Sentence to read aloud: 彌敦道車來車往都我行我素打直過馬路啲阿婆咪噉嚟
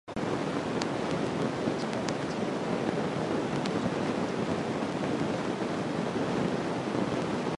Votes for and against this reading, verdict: 0, 2, rejected